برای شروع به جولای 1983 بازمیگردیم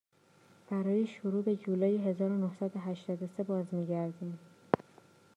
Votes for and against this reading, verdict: 0, 2, rejected